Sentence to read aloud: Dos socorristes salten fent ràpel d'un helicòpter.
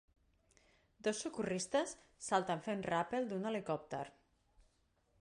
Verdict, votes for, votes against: accepted, 2, 0